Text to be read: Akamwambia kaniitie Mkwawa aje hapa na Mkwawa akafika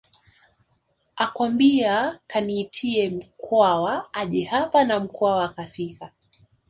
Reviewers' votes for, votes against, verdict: 1, 3, rejected